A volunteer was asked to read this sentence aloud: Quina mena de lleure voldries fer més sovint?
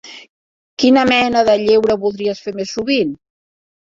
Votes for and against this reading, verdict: 2, 0, accepted